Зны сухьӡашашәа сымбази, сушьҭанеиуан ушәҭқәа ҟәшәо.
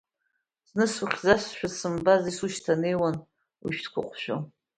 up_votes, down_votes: 0, 2